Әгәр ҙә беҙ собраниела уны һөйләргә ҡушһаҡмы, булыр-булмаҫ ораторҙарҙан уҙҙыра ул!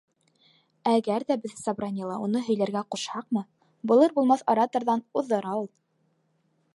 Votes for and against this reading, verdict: 1, 2, rejected